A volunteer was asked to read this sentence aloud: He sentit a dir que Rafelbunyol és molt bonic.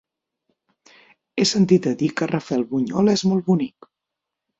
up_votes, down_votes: 9, 0